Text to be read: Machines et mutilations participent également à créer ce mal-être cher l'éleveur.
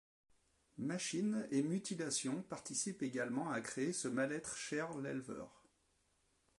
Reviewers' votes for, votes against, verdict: 2, 0, accepted